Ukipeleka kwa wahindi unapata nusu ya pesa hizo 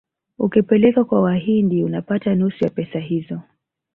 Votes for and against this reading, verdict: 1, 2, rejected